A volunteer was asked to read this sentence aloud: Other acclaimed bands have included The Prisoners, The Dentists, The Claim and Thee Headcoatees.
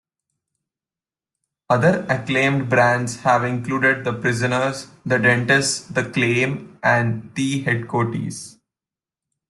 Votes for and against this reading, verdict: 0, 2, rejected